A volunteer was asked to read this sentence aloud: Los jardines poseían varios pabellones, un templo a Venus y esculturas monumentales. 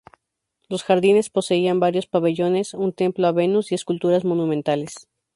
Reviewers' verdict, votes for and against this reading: rejected, 2, 2